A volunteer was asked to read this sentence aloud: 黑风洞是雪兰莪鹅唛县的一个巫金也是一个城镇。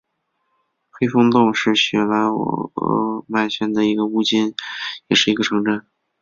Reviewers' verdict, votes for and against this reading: accepted, 2, 1